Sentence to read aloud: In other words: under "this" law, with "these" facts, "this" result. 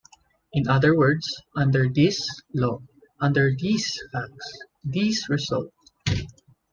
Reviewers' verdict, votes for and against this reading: rejected, 1, 2